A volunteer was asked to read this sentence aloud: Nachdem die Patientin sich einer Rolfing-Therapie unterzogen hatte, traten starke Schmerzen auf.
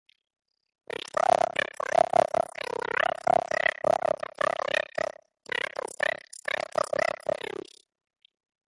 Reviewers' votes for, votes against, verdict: 0, 2, rejected